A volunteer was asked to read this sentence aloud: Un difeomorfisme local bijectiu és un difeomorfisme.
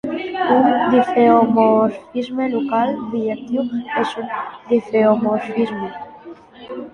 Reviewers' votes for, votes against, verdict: 1, 2, rejected